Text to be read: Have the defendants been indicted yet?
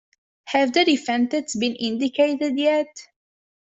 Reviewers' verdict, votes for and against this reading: rejected, 0, 2